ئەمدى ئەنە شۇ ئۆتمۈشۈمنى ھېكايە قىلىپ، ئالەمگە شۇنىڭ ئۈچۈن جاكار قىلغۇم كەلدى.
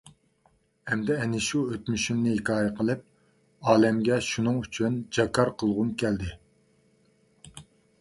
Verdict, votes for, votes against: accepted, 2, 0